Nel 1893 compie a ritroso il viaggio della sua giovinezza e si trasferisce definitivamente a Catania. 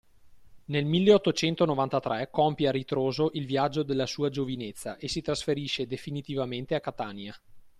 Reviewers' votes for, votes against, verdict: 0, 2, rejected